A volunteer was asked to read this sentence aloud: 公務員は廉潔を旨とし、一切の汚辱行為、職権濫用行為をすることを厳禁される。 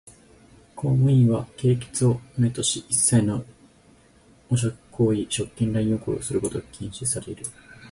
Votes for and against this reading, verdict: 4, 0, accepted